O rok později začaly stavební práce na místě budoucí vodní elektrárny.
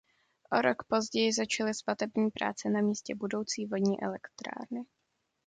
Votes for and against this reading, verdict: 0, 2, rejected